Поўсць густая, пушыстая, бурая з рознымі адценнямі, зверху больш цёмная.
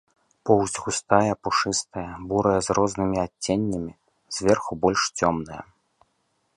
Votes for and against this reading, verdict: 2, 0, accepted